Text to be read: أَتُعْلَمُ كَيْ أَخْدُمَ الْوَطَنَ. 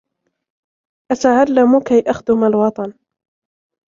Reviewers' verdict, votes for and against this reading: accepted, 2, 0